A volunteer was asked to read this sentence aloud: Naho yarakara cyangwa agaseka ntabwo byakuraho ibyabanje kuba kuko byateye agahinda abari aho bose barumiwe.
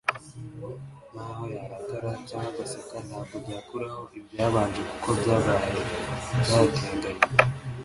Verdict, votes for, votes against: rejected, 1, 2